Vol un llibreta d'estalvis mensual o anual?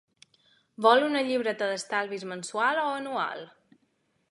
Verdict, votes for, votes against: accepted, 2, 0